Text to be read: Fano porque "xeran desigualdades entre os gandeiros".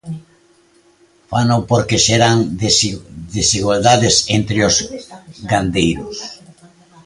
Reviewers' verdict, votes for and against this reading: rejected, 0, 2